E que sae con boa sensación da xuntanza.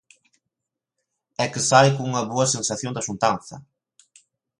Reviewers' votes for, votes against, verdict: 1, 2, rejected